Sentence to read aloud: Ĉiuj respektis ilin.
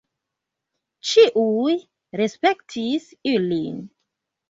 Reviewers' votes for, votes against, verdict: 2, 0, accepted